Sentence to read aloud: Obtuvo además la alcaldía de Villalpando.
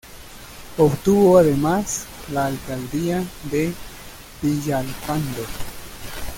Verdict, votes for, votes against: rejected, 1, 2